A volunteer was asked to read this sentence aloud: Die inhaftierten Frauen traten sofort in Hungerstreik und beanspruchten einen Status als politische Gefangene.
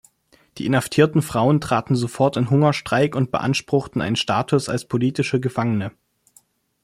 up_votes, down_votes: 2, 0